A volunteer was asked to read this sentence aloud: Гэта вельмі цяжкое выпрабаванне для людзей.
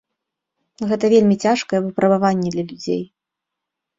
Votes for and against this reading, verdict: 1, 2, rejected